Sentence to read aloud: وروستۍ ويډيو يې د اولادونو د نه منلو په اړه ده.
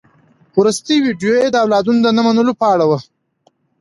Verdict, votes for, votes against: accepted, 2, 0